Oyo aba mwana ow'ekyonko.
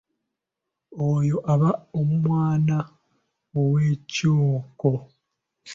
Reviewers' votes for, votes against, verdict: 1, 2, rejected